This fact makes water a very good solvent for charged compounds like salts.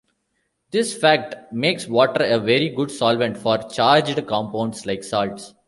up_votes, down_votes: 2, 1